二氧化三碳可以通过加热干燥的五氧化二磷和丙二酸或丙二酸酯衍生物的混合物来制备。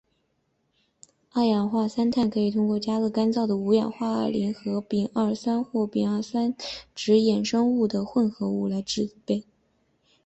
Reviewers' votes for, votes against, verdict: 4, 0, accepted